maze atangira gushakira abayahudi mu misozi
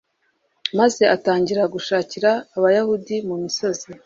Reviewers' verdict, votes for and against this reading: accepted, 2, 0